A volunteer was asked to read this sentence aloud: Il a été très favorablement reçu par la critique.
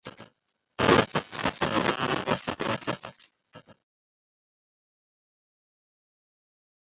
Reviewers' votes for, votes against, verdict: 0, 3, rejected